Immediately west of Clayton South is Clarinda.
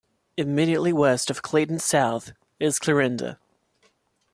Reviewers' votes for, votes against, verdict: 2, 0, accepted